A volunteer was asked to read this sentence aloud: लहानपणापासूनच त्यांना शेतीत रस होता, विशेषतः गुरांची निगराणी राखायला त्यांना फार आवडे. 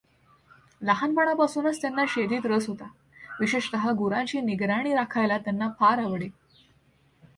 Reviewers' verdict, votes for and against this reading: accepted, 2, 1